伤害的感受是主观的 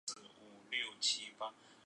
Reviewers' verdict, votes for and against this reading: rejected, 0, 2